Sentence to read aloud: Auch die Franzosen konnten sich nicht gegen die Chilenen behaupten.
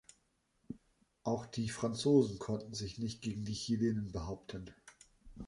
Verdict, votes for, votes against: accepted, 3, 0